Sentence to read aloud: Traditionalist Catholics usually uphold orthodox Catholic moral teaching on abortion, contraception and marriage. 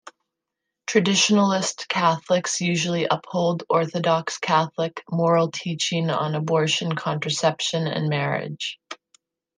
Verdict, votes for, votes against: accepted, 2, 0